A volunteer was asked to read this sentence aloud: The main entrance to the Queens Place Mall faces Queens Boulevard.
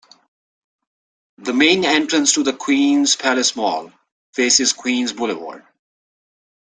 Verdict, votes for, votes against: accepted, 2, 1